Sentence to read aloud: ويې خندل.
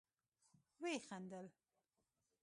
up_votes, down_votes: 0, 2